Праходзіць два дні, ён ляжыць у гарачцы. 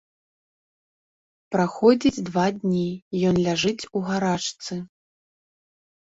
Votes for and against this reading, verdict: 1, 3, rejected